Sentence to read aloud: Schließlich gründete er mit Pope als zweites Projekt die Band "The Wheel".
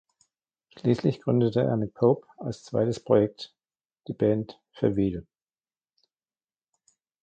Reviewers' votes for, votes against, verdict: 2, 1, accepted